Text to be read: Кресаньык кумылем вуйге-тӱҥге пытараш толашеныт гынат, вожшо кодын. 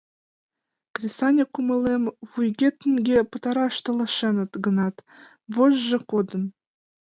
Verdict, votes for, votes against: accepted, 2, 0